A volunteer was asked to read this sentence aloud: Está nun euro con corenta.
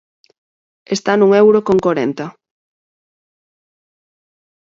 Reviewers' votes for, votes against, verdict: 4, 0, accepted